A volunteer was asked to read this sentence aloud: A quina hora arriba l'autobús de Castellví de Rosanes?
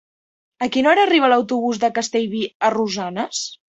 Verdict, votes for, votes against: rejected, 0, 2